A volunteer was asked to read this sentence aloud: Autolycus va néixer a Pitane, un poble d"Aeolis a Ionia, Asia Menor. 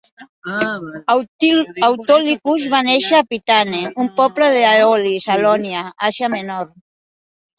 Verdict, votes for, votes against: rejected, 0, 2